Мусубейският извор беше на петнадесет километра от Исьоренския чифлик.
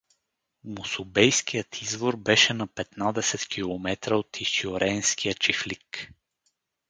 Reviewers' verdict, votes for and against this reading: accepted, 4, 0